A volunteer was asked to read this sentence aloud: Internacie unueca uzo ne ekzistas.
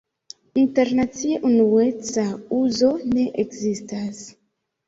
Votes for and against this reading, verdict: 2, 0, accepted